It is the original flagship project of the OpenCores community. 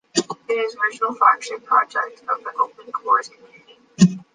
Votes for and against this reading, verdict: 2, 0, accepted